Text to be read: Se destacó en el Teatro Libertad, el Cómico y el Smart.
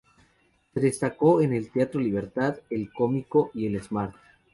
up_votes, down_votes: 0, 2